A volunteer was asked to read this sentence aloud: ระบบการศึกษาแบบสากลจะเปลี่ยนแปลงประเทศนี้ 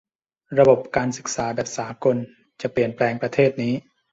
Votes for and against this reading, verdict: 2, 0, accepted